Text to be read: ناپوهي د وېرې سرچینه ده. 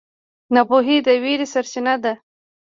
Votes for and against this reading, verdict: 2, 1, accepted